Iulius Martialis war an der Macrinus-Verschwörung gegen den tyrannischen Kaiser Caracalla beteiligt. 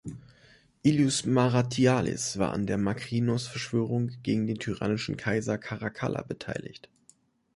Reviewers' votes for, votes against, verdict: 1, 2, rejected